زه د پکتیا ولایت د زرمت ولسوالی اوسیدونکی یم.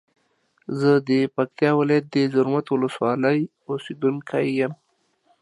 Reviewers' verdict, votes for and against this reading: accepted, 2, 0